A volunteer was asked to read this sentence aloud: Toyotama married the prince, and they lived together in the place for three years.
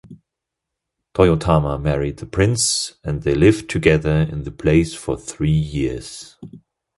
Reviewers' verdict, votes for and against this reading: accepted, 2, 0